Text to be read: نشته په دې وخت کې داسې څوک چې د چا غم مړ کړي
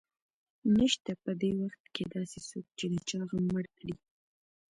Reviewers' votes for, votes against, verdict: 2, 1, accepted